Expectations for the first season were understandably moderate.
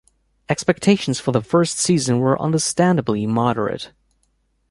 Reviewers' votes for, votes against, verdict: 2, 0, accepted